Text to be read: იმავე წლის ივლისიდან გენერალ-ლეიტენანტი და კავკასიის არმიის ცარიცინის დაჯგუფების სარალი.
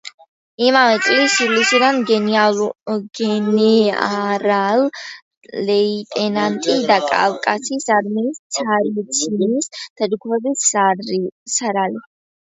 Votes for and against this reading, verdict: 0, 2, rejected